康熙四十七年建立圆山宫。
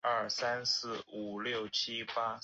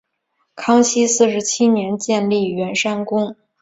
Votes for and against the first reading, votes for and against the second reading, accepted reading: 1, 5, 3, 1, second